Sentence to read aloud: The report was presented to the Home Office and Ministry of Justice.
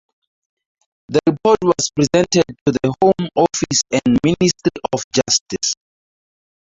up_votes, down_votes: 0, 2